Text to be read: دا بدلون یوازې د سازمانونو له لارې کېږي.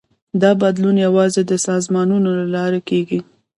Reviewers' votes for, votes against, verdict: 2, 0, accepted